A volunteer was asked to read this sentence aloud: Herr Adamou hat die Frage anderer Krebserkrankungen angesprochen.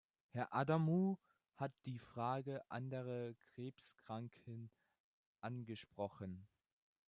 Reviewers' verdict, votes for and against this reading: rejected, 0, 2